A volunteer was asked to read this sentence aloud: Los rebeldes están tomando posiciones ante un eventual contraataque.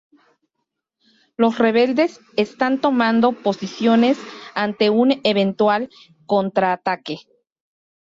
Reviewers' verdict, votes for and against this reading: accepted, 2, 0